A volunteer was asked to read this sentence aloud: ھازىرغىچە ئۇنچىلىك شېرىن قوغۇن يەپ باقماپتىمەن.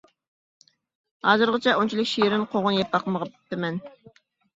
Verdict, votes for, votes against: rejected, 0, 2